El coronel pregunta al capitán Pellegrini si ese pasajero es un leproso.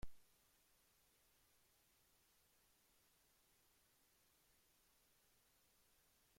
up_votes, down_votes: 0, 3